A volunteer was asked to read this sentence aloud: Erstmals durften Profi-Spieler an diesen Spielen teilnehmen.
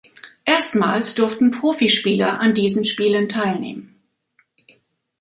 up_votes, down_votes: 2, 0